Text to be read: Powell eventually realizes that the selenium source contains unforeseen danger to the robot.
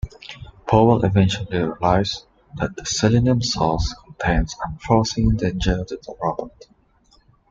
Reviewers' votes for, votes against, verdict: 0, 2, rejected